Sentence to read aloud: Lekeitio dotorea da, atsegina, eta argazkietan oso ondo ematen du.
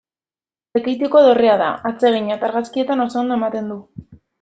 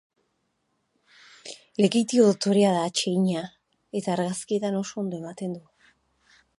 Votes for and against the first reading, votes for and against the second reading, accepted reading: 0, 2, 4, 0, second